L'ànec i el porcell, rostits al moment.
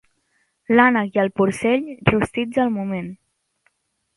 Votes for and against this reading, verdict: 3, 0, accepted